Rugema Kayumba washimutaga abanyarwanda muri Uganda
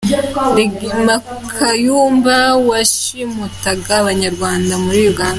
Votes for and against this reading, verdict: 2, 0, accepted